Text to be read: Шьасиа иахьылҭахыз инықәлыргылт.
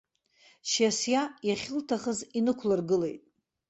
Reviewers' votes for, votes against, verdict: 1, 2, rejected